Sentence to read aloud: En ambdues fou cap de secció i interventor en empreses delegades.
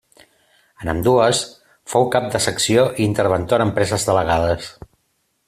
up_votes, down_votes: 2, 0